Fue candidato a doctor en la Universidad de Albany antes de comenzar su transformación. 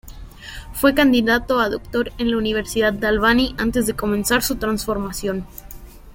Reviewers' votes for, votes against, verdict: 2, 0, accepted